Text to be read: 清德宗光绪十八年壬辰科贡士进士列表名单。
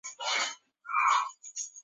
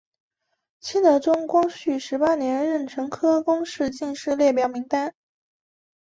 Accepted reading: second